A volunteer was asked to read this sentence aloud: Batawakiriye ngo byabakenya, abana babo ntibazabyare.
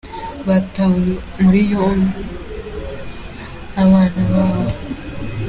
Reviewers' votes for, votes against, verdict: 0, 2, rejected